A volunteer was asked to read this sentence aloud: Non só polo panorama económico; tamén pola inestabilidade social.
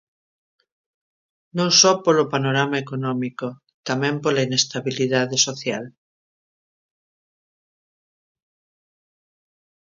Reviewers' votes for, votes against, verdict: 0, 2, rejected